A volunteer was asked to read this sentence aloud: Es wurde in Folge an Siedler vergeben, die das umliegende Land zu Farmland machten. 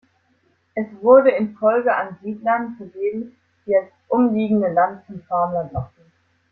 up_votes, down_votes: 0, 2